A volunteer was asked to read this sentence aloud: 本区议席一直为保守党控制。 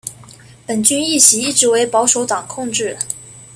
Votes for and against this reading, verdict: 2, 0, accepted